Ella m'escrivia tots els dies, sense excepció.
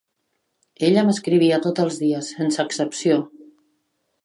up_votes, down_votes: 1, 2